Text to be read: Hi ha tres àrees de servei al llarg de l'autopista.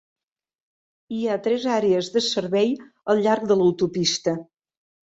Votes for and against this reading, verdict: 3, 0, accepted